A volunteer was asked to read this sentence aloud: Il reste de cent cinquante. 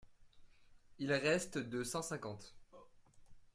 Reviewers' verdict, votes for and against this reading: rejected, 1, 2